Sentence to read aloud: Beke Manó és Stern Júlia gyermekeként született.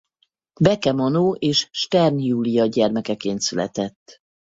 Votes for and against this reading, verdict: 4, 0, accepted